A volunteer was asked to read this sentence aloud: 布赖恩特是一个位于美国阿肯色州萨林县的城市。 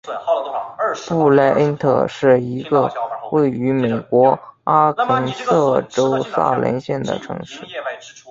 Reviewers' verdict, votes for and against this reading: accepted, 3, 1